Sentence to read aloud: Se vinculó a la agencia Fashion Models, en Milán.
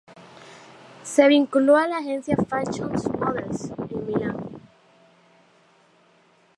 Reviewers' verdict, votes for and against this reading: rejected, 0, 2